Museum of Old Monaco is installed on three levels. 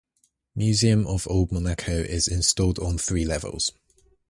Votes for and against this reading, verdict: 4, 0, accepted